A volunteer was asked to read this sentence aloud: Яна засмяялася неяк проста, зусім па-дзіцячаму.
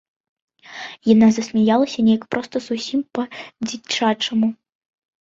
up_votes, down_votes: 0, 2